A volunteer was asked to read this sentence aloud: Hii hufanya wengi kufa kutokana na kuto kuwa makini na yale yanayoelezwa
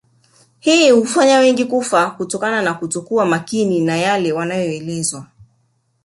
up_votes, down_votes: 2, 1